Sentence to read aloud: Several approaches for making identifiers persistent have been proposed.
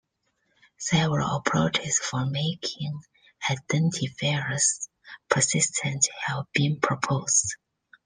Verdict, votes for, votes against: rejected, 1, 2